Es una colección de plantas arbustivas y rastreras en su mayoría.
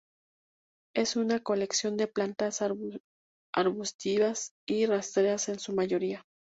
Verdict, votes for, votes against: rejected, 0, 2